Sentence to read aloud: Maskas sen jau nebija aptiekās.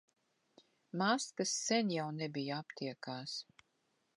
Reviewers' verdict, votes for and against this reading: accepted, 2, 0